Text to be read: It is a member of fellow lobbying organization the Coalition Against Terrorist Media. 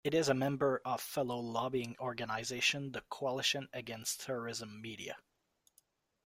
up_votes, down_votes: 1, 2